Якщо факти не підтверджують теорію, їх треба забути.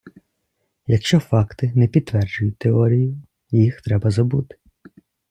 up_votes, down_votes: 2, 0